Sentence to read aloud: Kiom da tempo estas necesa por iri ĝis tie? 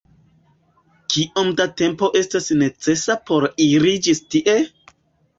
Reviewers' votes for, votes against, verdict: 2, 0, accepted